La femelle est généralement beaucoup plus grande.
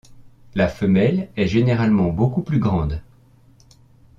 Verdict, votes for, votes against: accepted, 2, 0